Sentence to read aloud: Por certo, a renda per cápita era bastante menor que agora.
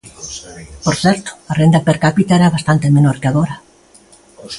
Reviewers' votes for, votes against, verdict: 2, 0, accepted